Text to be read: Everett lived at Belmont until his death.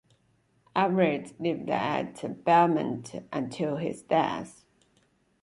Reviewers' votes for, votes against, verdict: 2, 0, accepted